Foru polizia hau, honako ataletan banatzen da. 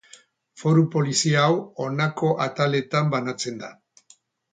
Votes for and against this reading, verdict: 4, 0, accepted